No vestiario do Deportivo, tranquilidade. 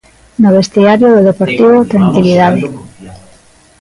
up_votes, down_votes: 1, 2